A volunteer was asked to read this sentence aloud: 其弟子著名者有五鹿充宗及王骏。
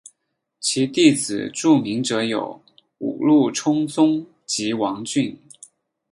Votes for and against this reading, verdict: 2, 0, accepted